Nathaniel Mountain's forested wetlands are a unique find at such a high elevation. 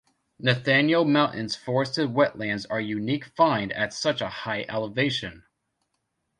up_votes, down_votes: 1, 2